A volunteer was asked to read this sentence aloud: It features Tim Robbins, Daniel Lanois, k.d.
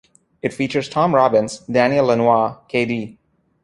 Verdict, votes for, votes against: rejected, 1, 2